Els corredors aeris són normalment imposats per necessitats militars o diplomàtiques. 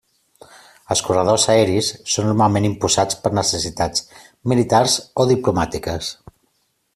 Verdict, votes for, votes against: rejected, 1, 2